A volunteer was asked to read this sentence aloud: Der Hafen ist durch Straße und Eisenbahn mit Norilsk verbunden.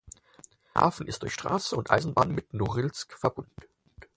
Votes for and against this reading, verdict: 0, 4, rejected